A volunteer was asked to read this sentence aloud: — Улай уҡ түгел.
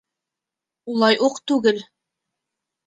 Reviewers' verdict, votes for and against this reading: accepted, 2, 0